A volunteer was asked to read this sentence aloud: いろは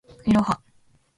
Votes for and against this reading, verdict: 2, 0, accepted